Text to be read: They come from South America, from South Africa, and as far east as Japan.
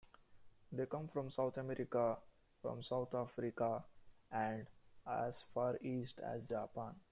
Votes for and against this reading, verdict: 1, 2, rejected